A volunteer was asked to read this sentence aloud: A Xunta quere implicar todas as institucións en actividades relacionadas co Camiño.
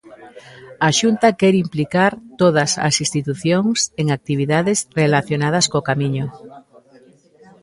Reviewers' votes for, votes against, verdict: 1, 2, rejected